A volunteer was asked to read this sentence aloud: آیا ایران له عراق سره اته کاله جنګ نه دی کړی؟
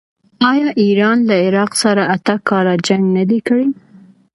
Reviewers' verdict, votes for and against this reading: accepted, 2, 0